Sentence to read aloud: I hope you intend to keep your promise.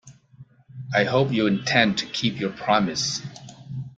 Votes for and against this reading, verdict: 2, 0, accepted